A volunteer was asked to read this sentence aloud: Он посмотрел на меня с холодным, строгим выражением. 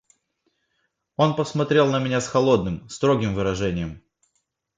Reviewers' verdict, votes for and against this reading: accepted, 2, 0